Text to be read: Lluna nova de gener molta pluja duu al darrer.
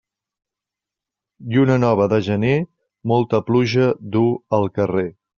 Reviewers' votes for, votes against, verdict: 1, 2, rejected